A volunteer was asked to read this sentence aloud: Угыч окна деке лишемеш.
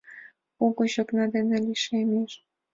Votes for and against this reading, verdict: 4, 3, accepted